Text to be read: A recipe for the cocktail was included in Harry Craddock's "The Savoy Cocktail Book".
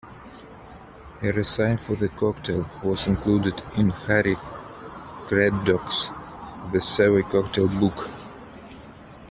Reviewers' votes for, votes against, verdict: 2, 1, accepted